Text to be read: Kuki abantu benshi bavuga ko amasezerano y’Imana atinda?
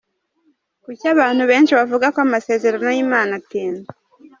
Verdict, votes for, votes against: rejected, 1, 2